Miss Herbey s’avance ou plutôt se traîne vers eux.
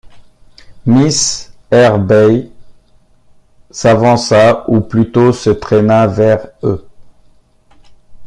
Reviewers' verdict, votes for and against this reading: rejected, 0, 2